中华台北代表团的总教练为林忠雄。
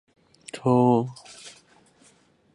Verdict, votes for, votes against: rejected, 0, 3